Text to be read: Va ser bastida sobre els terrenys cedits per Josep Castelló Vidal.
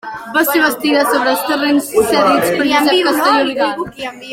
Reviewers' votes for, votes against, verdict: 0, 2, rejected